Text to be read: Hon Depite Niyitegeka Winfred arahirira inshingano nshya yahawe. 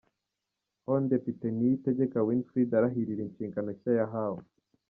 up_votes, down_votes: 1, 2